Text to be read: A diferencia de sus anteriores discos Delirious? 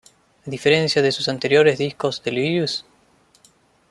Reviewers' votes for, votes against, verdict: 1, 2, rejected